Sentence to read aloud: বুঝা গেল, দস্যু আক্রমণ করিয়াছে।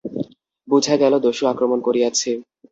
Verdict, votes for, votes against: accepted, 2, 0